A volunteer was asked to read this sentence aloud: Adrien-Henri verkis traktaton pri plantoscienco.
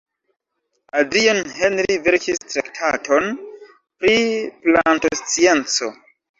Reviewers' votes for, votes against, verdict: 0, 2, rejected